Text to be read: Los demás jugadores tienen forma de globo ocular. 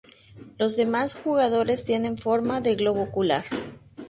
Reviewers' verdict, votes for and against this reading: accepted, 4, 0